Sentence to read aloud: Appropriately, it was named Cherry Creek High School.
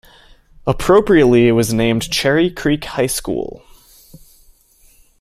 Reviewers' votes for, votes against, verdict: 2, 0, accepted